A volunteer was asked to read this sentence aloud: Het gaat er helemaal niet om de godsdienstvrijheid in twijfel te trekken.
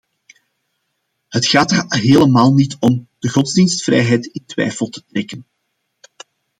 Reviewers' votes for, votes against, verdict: 2, 0, accepted